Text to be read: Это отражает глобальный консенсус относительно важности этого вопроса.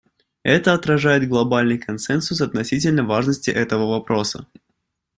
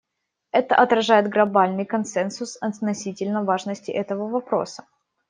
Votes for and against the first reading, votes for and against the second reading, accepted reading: 2, 0, 1, 2, first